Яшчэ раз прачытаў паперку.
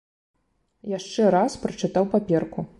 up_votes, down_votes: 2, 0